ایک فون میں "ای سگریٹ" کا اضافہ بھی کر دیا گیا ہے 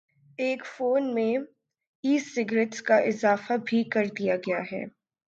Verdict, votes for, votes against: accepted, 11, 5